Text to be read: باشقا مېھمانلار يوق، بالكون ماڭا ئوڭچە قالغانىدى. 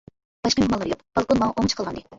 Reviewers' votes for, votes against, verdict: 0, 2, rejected